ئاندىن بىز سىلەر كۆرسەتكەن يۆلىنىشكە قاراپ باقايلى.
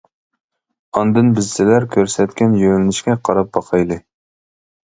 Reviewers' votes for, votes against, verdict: 2, 0, accepted